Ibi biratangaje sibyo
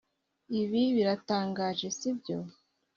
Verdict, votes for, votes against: accepted, 2, 0